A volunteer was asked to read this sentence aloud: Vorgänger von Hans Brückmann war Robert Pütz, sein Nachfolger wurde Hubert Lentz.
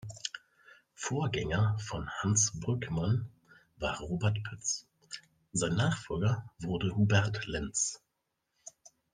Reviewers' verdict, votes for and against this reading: accepted, 2, 0